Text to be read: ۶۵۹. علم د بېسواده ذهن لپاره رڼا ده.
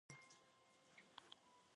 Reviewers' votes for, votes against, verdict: 0, 2, rejected